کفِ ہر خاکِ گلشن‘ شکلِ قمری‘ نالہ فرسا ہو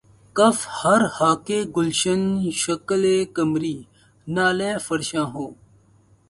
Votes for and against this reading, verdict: 0, 2, rejected